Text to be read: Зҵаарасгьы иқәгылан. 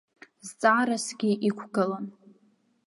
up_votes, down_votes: 1, 2